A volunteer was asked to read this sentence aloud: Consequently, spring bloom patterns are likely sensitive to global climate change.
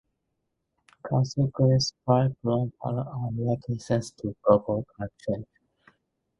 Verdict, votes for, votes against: rejected, 0, 2